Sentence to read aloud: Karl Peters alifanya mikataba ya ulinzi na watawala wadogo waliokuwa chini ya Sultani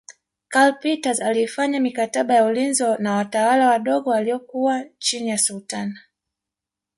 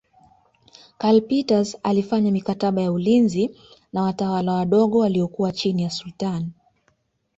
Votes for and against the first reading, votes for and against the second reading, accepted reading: 1, 2, 5, 0, second